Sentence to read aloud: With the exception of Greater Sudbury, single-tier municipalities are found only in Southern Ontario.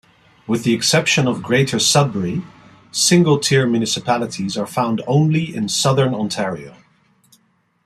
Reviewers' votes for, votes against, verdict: 2, 0, accepted